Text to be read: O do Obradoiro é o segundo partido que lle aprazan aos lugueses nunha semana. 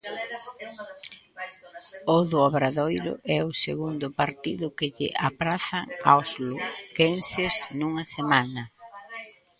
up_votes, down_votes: 0, 2